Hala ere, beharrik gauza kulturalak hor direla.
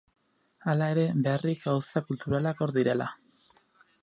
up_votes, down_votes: 4, 0